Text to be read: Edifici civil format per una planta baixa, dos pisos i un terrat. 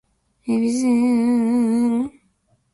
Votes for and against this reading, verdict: 1, 2, rejected